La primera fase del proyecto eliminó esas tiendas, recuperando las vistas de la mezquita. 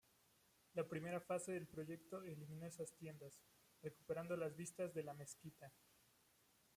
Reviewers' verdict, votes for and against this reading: accepted, 2, 1